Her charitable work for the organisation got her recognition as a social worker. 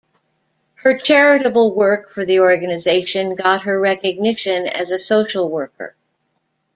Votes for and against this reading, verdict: 2, 0, accepted